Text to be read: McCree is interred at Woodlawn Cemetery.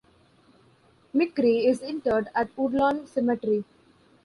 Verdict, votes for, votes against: accepted, 2, 0